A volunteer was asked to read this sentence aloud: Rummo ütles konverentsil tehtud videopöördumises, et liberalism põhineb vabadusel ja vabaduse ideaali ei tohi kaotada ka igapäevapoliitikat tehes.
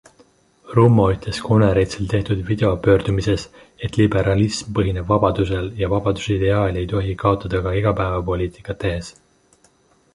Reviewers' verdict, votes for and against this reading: accepted, 2, 0